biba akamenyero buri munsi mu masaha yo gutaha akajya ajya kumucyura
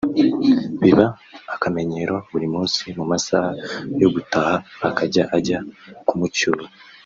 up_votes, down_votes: 3, 0